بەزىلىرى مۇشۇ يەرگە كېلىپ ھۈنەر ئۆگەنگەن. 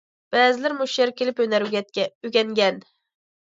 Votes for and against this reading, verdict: 0, 2, rejected